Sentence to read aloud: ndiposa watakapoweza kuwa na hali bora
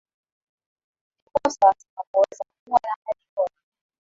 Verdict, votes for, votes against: rejected, 1, 2